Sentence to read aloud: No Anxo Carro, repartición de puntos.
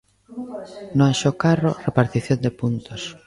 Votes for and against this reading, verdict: 1, 2, rejected